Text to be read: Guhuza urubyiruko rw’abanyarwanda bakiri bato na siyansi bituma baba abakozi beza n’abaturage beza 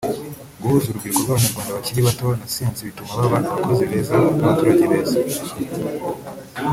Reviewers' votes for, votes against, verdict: 1, 2, rejected